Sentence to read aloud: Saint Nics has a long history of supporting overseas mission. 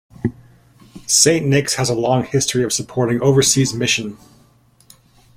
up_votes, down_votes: 2, 0